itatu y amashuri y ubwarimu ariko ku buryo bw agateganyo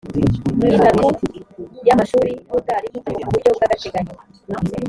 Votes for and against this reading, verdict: 1, 2, rejected